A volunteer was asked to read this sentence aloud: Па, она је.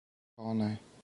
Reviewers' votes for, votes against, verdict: 0, 4, rejected